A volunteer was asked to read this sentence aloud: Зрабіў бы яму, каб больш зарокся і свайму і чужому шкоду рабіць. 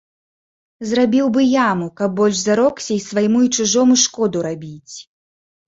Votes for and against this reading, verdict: 0, 2, rejected